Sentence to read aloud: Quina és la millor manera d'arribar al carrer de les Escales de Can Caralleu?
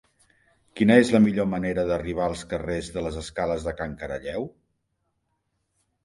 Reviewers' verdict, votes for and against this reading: rejected, 0, 2